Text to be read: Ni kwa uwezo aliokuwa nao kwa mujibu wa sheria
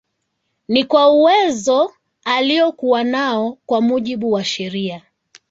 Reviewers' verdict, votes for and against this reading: accepted, 2, 1